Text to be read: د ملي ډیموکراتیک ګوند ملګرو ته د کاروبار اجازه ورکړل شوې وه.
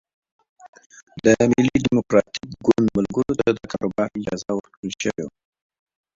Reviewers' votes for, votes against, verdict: 1, 2, rejected